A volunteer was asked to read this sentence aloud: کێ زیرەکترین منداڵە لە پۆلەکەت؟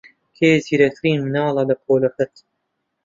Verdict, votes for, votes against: rejected, 1, 2